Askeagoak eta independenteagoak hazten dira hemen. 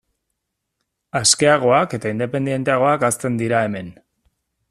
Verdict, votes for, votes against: accepted, 2, 0